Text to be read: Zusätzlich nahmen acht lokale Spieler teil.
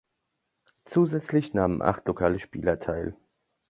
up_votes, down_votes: 2, 0